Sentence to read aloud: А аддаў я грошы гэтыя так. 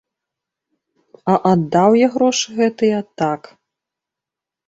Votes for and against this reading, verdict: 2, 0, accepted